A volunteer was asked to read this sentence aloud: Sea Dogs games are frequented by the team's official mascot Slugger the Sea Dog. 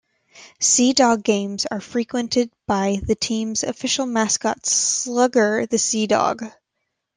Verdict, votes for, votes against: accepted, 2, 0